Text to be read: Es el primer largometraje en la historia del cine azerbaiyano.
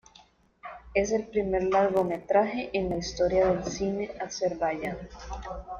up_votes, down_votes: 2, 1